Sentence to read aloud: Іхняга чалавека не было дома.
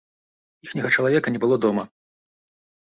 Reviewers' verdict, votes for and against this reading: rejected, 0, 2